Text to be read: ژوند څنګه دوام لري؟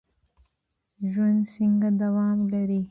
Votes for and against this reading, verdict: 2, 0, accepted